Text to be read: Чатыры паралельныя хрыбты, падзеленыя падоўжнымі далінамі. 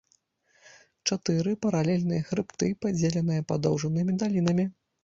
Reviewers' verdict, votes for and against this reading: rejected, 1, 2